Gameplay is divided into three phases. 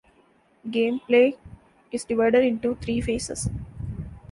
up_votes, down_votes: 2, 0